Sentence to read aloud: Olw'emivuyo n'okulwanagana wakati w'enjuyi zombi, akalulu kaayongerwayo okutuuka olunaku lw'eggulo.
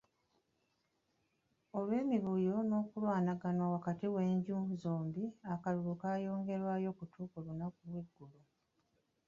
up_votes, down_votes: 1, 2